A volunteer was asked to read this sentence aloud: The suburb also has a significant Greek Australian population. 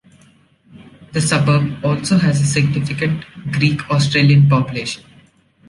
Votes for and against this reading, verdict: 0, 2, rejected